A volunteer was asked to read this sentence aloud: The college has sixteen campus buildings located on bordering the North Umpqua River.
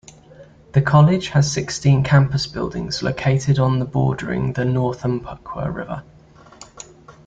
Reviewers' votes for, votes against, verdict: 0, 2, rejected